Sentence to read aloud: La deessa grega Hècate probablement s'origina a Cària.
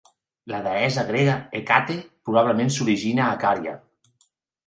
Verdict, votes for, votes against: accepted, 2, 0